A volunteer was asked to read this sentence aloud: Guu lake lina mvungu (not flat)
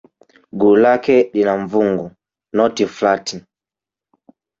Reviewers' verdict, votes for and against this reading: rejected, 0, 2